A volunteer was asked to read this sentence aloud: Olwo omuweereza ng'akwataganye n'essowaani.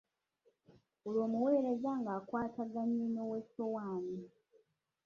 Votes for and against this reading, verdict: 0, 2, rejected